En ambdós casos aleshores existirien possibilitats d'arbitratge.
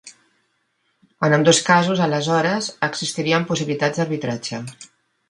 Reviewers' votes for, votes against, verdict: 2, 0, accepted